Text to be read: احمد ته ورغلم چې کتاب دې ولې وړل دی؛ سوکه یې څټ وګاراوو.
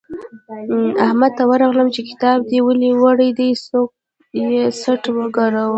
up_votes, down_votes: 2, 0